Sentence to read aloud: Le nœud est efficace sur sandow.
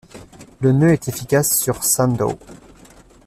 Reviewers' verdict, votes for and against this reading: accepted, 2, 0